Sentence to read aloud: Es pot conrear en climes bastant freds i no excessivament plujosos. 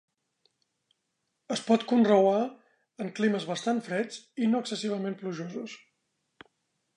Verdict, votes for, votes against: rejected, 1, 2